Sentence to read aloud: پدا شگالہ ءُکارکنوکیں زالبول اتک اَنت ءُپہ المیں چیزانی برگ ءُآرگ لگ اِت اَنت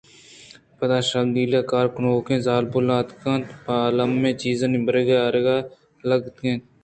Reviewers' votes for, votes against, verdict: 1, 2, rejected